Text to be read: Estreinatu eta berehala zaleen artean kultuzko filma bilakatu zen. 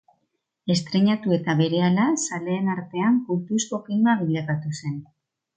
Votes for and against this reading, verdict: 2, 0, accepted